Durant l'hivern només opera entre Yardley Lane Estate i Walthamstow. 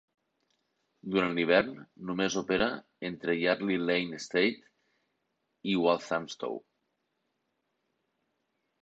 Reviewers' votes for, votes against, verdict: 2, 0, accepted